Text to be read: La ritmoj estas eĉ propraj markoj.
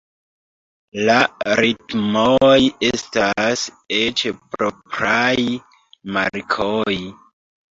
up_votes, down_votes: 0, 2